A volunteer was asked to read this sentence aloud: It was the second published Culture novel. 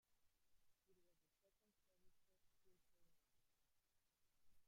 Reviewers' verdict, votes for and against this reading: rejected, 0, 2